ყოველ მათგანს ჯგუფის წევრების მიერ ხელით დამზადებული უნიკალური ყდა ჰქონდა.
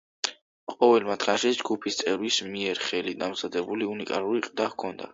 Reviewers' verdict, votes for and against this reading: rejected, 1, 2